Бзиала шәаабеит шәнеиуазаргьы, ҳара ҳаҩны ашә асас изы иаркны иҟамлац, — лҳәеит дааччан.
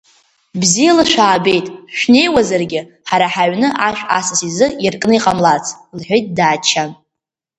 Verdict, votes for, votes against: accepted, 2, 0